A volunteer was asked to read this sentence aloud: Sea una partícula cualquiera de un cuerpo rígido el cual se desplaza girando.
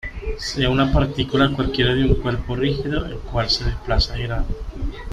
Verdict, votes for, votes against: accepted, 3, 2